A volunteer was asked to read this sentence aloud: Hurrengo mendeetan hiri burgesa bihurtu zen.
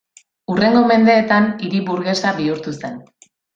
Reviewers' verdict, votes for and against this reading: accepted, 2, 0